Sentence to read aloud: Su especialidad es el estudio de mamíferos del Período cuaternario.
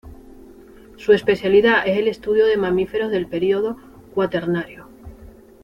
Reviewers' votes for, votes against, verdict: 2, 0, accepted